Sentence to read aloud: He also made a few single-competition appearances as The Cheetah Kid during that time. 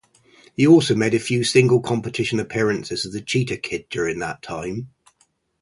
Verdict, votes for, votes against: accepted, 2, 0